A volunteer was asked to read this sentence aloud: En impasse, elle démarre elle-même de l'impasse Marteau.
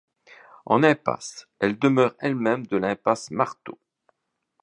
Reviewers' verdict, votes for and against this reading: rejected, 1, 2